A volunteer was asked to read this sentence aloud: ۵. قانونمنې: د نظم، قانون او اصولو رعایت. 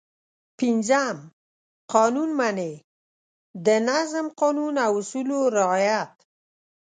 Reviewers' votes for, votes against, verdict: 0, 2, rejected